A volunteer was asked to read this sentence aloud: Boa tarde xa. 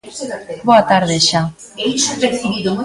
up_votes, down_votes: 1, 2